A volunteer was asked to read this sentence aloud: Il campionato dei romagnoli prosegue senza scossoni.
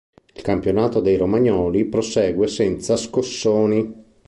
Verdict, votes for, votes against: accepted, 3, 0